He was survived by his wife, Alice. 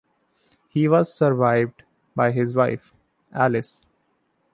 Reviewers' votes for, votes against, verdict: 2, 0, accepted